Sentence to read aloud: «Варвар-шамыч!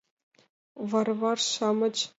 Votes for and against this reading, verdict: 1, 6, rejected